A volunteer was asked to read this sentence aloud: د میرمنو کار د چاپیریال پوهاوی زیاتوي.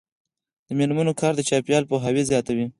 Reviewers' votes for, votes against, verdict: 2, 4, rejected